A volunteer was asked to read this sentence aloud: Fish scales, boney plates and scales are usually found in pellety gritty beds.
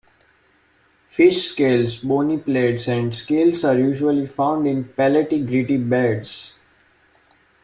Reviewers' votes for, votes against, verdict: 1, 2, rejected